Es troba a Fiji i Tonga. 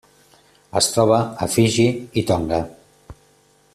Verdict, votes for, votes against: accepted, 3, 0